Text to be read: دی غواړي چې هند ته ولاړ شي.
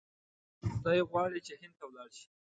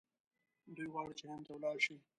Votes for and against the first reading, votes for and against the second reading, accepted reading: 2, 0, 0, 2, first